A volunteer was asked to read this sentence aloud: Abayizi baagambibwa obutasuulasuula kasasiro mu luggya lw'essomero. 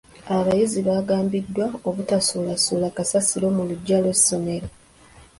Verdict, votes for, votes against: rejected, 0, 2